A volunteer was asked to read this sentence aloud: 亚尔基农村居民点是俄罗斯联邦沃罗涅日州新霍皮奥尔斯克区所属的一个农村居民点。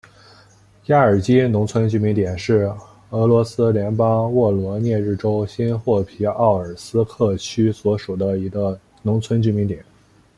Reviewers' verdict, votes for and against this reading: accepted, 2, 0